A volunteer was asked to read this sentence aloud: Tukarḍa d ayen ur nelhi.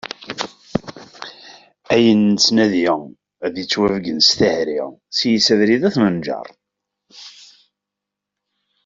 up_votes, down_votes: 0, 2